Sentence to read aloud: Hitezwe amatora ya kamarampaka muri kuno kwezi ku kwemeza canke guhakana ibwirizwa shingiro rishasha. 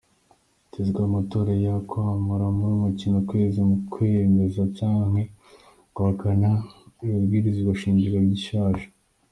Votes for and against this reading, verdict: 2, 1, accepted